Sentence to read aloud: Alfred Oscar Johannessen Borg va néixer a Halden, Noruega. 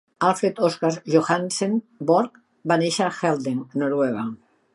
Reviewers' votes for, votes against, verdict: 1, 3, rejected